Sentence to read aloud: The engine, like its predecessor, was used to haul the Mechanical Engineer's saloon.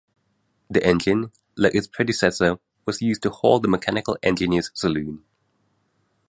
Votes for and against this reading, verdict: 2, 0, accepted